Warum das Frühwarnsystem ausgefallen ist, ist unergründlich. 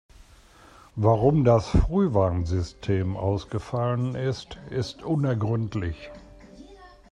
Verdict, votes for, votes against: rejected, 1, 2